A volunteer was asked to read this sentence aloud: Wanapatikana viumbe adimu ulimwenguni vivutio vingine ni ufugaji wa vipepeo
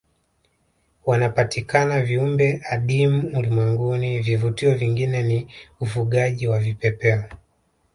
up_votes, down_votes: 1, 2